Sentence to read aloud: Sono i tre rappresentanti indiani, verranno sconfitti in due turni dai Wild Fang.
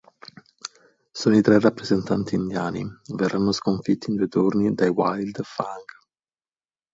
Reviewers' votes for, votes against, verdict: 2, 2, rejected